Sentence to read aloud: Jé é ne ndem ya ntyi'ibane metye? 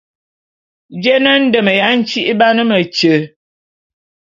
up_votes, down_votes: 2, 0